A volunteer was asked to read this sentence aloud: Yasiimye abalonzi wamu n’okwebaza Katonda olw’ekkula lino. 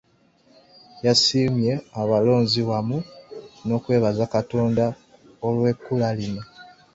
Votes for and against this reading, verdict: 2, 0, accepted